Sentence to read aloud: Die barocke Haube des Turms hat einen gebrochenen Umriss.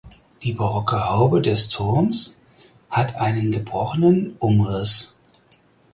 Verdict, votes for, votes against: accepted, 4, 0